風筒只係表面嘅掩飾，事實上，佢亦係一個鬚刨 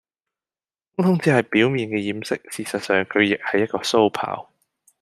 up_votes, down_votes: 0, 2